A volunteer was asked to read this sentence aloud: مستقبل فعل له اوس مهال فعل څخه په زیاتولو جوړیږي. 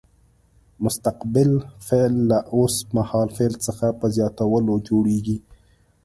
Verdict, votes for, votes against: accepted, 2, 0